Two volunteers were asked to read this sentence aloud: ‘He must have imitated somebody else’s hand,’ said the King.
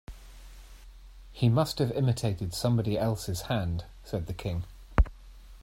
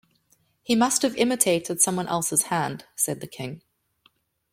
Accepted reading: first